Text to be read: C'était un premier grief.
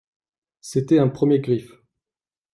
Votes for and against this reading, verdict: 1, 2, rejected